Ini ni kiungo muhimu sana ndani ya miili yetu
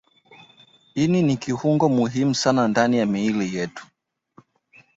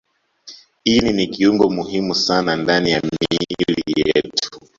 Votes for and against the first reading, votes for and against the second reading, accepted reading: 2, 1, 1, 2, first